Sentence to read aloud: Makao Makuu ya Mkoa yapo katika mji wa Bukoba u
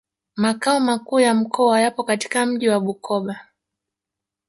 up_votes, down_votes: 1, 2